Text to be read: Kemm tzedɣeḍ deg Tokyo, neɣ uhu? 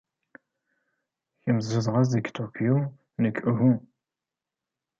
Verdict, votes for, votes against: rejected, 1, 2